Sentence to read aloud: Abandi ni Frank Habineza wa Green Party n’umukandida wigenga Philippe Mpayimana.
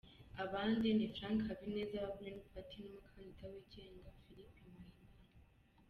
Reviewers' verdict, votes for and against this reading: rejected, 0, 2